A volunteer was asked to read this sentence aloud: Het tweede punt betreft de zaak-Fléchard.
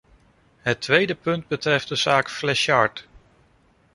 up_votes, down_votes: 2, 0